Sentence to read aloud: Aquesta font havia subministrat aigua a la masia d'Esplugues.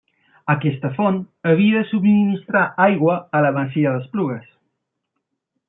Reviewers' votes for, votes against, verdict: 1, 2, rejected